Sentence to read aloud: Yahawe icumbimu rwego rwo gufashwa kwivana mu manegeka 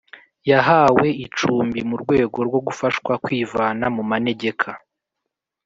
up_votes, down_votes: 2, 0